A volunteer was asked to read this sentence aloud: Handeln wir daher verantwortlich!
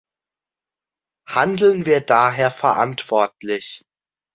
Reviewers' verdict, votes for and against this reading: accepted, 2, 0